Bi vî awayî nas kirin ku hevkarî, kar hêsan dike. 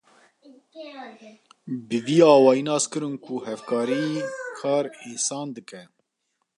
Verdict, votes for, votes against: rejected, 0, 2